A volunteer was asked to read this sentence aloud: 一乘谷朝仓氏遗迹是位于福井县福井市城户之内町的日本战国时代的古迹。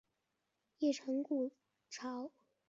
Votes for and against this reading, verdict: 1, 2, rejected